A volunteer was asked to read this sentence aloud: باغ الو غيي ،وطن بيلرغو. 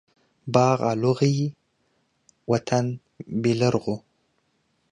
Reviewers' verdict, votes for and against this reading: accepted, 2, 0